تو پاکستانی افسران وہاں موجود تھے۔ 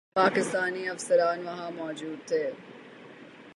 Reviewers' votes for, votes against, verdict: 3, 0, accepted